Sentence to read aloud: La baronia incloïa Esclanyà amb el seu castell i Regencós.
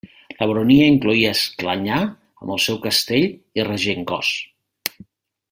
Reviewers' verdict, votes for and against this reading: accepted, 2, 0